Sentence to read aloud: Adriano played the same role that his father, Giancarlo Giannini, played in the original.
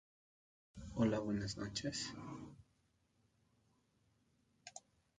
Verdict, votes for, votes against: rejected, 0, 2